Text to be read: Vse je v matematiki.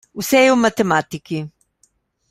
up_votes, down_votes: 2, 0